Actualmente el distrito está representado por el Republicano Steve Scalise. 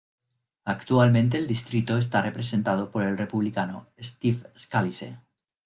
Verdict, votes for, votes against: accepted, 2, 0